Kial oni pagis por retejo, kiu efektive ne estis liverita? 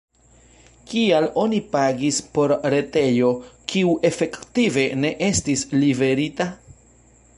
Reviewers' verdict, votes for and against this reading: accepted, 2, 0